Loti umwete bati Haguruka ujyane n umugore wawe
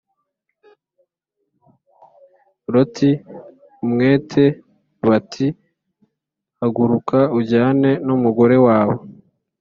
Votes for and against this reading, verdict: 5, 0, accepted